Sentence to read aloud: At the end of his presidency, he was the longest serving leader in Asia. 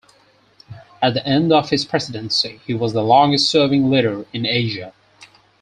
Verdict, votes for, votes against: accepted, 4, 0